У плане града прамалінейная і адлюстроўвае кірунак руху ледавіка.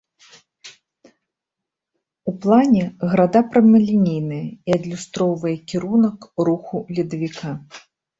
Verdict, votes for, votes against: accepted, 2, 0